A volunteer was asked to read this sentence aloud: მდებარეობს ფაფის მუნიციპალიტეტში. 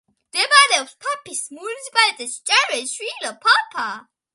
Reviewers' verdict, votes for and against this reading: rejected, 0, 2